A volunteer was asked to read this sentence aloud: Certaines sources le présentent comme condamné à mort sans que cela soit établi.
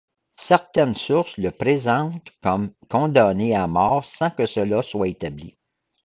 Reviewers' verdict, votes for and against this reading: accepted, 2, 0